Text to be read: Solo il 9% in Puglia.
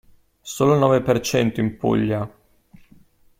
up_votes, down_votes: 0, 2